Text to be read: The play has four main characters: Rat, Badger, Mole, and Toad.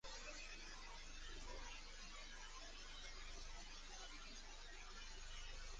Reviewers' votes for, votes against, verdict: 0, 2, rejected